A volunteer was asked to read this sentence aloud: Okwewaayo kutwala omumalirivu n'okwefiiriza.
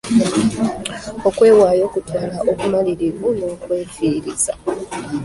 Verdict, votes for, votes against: rejected, 0, 2